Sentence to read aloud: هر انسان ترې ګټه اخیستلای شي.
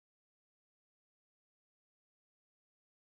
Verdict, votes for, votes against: rejected, 1, 2